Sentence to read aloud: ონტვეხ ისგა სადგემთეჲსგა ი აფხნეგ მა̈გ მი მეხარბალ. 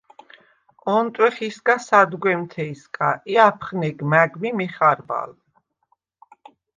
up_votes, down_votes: 0, 2